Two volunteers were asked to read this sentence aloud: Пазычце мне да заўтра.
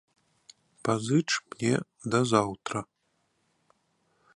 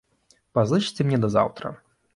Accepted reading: second